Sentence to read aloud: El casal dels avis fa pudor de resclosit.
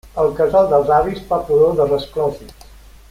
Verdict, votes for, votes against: rejected, 0, 2